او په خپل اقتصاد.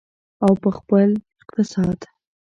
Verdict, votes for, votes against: accepted, 2, 0